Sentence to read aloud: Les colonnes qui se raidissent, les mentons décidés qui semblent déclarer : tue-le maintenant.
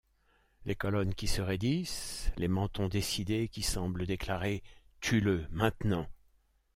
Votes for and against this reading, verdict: 2, 0, accepted